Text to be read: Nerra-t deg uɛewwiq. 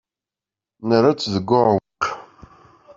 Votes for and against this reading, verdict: 0, 2, rejected